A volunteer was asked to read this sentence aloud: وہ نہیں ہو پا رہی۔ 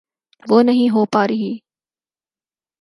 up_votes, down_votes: 6, 0